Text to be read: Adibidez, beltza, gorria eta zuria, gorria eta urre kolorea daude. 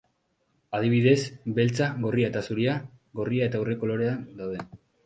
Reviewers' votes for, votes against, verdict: 3, 0, accepted